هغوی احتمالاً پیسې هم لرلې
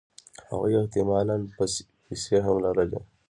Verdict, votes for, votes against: rejected, 0, 2